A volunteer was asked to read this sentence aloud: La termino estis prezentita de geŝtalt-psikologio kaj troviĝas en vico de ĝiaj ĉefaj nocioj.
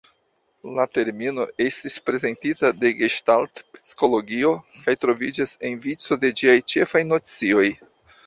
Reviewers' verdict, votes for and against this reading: accepted, 2, 0